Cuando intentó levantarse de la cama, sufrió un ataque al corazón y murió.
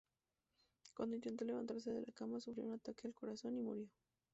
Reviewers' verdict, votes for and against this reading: rejected, 0, 2